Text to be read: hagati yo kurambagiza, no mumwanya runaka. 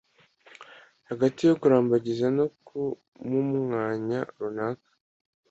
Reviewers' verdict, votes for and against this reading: rejected, 1, 2